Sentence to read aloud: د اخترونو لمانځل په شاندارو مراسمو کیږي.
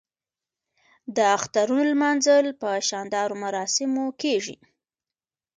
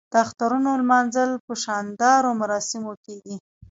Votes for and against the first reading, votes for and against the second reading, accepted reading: 0, 2, 2, 1, second